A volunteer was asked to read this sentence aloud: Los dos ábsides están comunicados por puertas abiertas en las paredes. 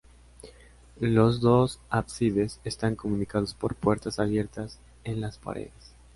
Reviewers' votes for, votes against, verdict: 4, 0, accepted